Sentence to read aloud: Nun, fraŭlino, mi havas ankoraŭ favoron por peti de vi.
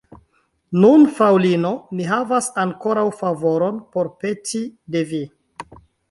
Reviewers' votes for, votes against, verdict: 0, 2, rejected